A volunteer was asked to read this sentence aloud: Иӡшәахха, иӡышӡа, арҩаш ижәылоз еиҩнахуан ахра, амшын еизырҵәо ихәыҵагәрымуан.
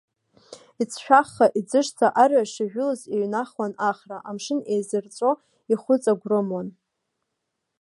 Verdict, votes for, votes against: accepted, 2, 0